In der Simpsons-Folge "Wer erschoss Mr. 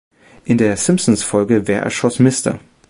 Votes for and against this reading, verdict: 2, 1, accepted